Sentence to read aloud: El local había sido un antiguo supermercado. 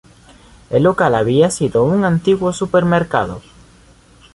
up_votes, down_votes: 2, 0